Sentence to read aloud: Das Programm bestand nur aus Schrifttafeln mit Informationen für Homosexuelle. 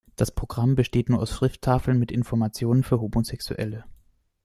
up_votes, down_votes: 1, 2